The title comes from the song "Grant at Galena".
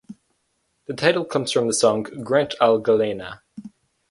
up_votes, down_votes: 0, 2